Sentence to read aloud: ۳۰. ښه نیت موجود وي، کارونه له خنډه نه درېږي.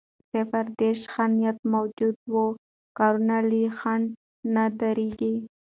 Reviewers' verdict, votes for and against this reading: rejected, 0, 2